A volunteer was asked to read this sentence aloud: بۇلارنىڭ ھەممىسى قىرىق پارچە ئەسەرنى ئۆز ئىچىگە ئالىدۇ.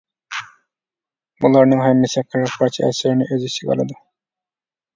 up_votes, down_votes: 2, 1